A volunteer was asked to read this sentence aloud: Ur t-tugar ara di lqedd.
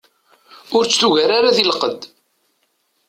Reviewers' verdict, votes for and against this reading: accepted, 2, 0